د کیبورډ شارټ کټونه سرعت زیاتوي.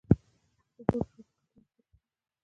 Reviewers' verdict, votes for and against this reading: rejected, 0, 2